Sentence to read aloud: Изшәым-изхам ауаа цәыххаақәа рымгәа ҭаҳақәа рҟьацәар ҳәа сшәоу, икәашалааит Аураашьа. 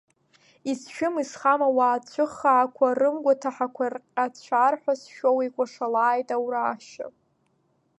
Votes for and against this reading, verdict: 4, 2, accepted